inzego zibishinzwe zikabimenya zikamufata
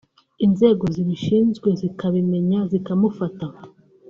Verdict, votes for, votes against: accepted, 2, 0